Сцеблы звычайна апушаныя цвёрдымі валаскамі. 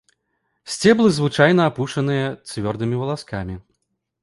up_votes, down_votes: 2, 0